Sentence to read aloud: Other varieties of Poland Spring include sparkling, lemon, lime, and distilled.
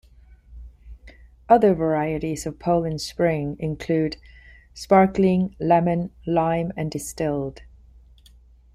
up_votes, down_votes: 2, 0